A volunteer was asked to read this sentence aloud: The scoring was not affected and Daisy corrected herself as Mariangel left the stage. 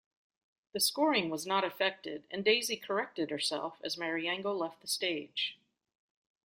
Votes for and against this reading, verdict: 2, 0, accepted